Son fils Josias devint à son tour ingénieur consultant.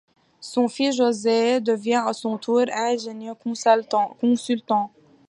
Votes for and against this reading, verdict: 0, 2, rejected